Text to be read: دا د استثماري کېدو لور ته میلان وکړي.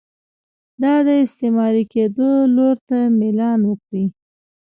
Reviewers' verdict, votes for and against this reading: rejected, 1, 2